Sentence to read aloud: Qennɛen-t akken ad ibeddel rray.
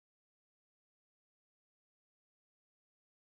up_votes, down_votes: 0, 2